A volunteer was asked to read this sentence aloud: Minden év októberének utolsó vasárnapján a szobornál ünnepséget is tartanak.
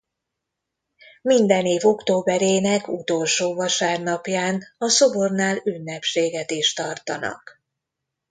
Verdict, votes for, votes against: accepted, 2, 0